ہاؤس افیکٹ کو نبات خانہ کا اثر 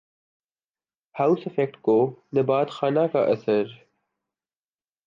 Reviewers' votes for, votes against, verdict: 3, 0, accepted